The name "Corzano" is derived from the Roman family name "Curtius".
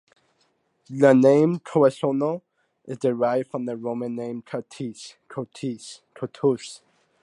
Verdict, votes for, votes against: rejected, 0, 2